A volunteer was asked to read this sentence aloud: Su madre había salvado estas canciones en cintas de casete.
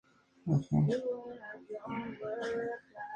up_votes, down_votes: 0, 4